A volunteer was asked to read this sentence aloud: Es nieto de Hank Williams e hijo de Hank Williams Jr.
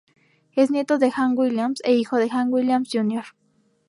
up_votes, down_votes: 4, 0